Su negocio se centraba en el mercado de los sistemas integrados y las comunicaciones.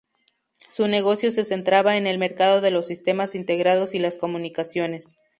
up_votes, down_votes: 2, 0